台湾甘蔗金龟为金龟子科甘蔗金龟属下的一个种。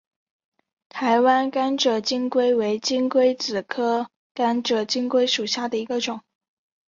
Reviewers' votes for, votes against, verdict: 2, 0, accepted